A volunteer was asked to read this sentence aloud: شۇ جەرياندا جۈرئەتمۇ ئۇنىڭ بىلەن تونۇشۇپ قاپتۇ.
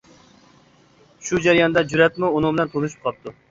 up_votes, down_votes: 2, 0